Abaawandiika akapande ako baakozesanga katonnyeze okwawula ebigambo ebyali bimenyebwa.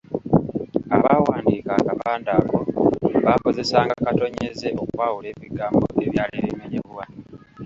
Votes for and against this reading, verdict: 0, 2, rejected